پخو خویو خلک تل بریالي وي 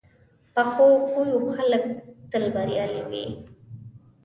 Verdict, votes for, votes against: accepted, 2, 0